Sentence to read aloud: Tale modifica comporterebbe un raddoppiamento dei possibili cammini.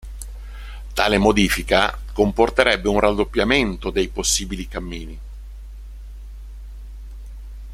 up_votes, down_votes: 2, 0